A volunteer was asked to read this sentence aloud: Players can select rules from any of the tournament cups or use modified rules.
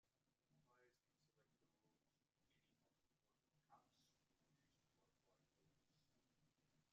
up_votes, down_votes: 0, 2